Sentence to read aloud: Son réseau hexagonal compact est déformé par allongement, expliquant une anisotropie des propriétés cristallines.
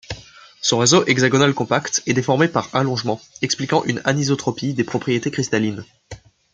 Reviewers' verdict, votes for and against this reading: accepted, 2, 0